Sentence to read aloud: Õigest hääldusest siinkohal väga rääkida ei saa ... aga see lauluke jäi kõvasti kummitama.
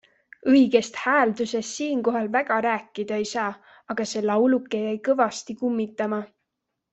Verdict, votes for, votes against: accepted, 2, 0